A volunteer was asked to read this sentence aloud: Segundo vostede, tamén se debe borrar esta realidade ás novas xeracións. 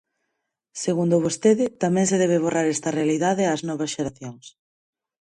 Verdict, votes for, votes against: accepted, 6, 0